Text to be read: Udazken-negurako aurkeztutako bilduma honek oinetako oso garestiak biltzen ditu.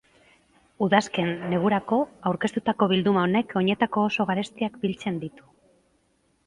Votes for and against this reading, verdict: 0, 2, rejected